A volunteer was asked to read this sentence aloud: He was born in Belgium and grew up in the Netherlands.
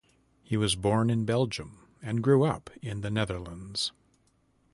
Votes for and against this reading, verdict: 2, 0, accepted